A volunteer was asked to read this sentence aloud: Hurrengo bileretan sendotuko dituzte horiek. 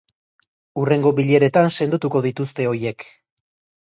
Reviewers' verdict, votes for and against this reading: rejected, 0, 2